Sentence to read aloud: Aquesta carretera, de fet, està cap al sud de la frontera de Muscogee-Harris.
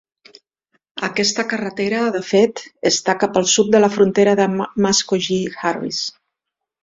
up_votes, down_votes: 1, 2